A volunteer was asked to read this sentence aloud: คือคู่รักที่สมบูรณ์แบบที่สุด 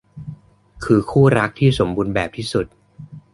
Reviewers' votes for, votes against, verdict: 2, 0, accepted